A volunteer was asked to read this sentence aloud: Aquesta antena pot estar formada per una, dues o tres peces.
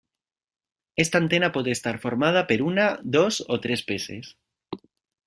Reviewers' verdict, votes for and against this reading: rejected, 0, 2